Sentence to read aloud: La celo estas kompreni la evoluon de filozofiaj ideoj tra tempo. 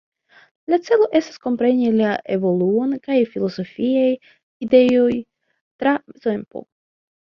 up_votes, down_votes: 2, 1